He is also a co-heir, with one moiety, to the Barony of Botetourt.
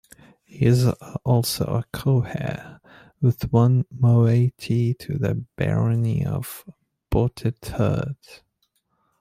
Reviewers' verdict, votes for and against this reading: rejected, 0, 2